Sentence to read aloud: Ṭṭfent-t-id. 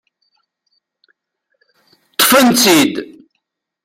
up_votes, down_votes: 0, 2